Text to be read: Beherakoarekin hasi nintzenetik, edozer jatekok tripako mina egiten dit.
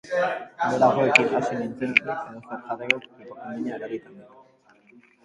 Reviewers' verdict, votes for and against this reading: rejected, 0, 2